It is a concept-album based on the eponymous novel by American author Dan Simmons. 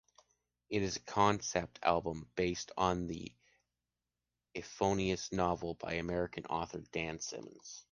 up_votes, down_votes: 0, 2